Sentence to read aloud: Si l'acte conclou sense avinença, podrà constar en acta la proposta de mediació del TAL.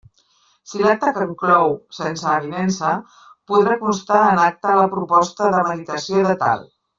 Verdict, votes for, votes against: rejected, 0, 2